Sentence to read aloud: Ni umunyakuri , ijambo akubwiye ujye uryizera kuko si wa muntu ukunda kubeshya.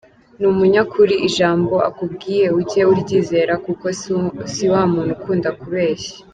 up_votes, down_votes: 1, 2